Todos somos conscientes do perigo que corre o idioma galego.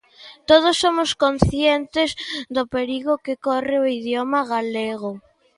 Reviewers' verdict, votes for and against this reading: accepted, 2, 0